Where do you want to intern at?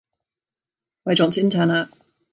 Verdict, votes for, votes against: rejected, 1, 2